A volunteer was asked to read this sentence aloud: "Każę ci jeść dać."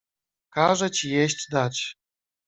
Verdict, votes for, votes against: rejected, 0, 2